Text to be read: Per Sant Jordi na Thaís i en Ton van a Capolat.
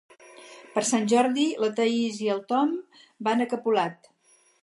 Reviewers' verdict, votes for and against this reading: accepted, 4, 2